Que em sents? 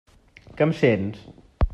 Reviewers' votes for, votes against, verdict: 3, 0, accepted